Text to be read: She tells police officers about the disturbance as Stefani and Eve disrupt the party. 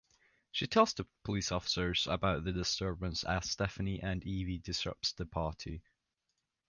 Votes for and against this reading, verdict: 1, 2, rejected